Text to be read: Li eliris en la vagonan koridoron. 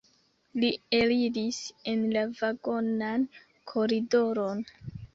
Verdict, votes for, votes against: accepted, 2, 0